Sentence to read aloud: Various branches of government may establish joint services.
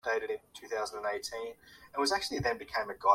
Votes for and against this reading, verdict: 0, 2, rejected